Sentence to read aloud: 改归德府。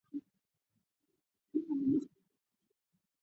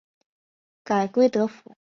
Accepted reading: second